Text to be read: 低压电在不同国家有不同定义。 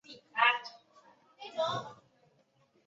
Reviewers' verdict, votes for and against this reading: rejected, 0, 2